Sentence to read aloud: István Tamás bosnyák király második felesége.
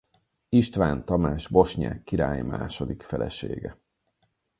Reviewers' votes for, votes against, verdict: 0, 4, rejected